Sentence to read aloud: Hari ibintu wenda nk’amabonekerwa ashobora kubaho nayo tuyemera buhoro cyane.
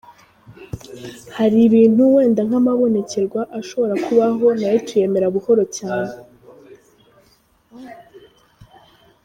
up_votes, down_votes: 0, 2